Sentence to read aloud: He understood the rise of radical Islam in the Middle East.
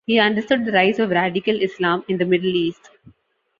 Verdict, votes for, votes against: accepted, 2, 0